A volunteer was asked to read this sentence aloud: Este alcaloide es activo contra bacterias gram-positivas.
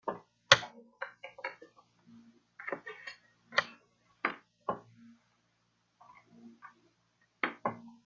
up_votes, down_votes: 0, 2